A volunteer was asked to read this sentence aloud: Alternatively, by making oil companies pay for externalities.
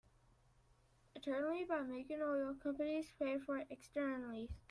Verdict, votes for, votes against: rejected, 1, 2